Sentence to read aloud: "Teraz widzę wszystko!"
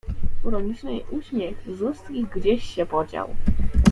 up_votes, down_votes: 0, 2